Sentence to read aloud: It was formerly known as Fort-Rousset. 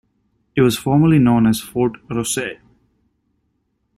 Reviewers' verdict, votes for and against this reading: accepted, 2, 0